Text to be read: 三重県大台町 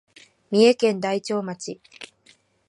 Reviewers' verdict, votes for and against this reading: rejected, 2, 4